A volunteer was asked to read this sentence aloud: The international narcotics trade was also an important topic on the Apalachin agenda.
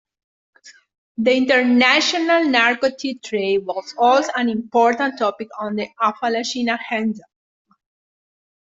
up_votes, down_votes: 0, 2